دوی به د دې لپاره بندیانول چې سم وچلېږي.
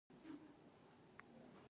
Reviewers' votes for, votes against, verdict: 1, 2, rejected